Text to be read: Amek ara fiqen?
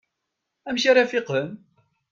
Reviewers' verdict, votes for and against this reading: accepted, 2, 0